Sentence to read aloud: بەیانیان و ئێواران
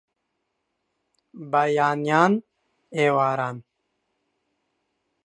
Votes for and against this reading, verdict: 0, 2, rejected